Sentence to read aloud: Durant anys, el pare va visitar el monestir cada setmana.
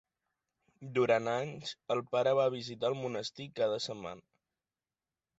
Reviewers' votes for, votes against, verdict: 3, 0, accepted